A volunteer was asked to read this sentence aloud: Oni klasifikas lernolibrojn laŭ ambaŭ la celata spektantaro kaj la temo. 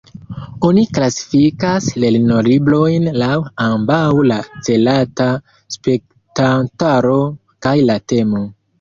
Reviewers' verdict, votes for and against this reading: accepted, 2, 1